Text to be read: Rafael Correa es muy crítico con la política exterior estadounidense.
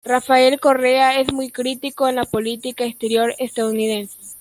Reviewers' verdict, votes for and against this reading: accepted, 2, 1